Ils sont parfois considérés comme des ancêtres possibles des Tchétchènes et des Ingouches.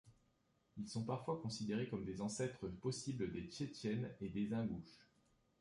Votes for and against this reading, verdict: 2, 1, accepted